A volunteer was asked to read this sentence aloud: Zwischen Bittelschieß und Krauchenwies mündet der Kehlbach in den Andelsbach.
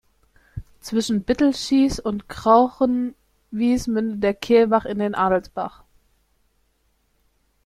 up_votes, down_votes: 0, 2